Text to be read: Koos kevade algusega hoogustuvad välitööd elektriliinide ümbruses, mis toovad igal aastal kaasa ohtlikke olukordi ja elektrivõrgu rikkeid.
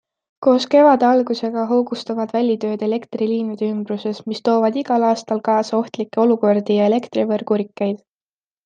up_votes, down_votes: 2, 0